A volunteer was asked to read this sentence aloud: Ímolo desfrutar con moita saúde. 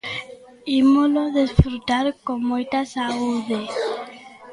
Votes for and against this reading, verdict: 2, 0, accepted